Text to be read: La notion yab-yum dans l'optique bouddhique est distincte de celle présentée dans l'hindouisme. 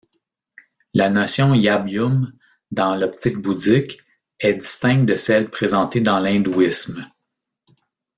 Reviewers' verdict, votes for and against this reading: accepted, 2, 0